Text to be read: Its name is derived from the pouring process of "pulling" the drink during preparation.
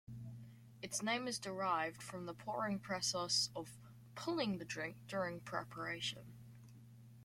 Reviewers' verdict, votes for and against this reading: accepted, 2, 0